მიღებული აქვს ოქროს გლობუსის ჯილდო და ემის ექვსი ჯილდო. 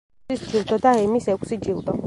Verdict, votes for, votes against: rejected, 1, 3